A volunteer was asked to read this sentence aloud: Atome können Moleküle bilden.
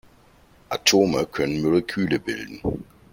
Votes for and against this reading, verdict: 1, 2, rejected